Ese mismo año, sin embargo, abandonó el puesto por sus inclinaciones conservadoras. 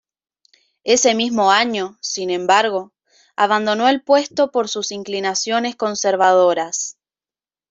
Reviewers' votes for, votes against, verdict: 2, 0, accepted